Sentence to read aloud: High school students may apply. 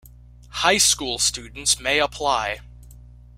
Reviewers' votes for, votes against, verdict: 1, 2, rejected